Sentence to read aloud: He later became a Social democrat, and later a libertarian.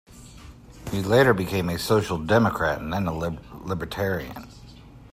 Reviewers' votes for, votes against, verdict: 0, 2, rejected